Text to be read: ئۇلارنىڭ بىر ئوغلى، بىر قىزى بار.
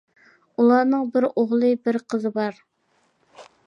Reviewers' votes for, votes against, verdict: 2, 0, accepted